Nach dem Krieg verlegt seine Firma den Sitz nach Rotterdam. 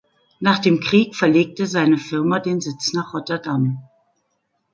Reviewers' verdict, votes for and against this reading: rejected, 1, 2